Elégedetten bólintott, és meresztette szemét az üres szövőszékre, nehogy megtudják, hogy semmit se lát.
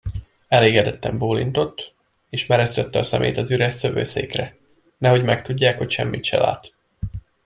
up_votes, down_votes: 1, 2